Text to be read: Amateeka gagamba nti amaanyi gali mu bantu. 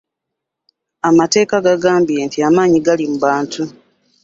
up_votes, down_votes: 2, 1